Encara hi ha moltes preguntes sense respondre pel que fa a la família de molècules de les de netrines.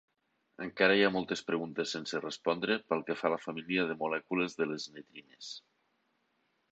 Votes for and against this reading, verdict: 4, 3, accepted